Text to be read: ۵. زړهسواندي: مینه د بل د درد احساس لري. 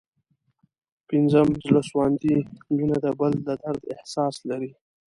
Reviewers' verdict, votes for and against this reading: rejected, 0, 2